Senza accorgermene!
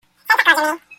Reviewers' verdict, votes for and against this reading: rejected, 0, 2